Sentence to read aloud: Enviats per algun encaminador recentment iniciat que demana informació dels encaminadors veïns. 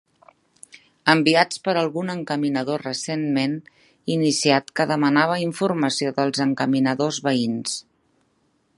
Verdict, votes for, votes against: rejected, 0, 2